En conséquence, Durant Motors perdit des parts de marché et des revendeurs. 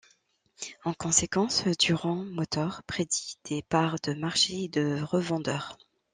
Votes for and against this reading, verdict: 1, 2, rejected